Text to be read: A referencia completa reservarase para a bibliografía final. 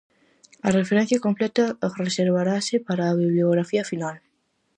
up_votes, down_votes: 2, 2